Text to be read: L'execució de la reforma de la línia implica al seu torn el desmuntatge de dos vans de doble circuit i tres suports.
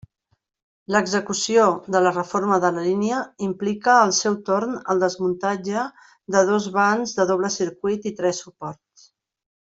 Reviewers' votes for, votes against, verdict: 1, 2, rejected